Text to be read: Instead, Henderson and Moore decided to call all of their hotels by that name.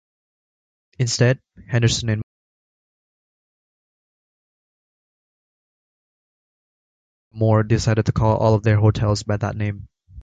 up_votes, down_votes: 1, 2